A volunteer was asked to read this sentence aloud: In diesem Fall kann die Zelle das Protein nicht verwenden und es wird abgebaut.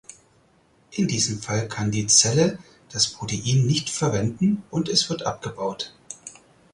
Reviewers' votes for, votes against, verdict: 4, 0, accepted